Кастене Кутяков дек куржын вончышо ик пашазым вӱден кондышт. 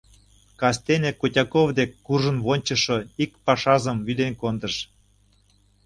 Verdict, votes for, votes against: rejected, 0, 2